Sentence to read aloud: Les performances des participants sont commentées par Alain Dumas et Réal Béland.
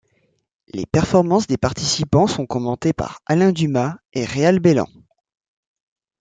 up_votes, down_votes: 2, 0